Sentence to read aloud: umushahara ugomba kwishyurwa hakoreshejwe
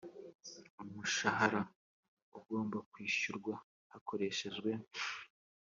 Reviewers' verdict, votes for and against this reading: accepted, 2, 0